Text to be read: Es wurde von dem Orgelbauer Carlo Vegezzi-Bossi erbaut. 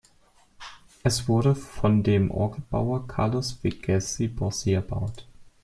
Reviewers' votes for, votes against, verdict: 1, 2, rejected